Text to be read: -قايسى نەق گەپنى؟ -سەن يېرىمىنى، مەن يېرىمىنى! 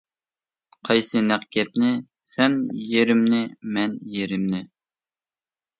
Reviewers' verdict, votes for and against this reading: rejected, 0, 2